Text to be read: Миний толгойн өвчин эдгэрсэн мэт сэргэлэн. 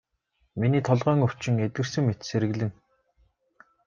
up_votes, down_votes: 2, 0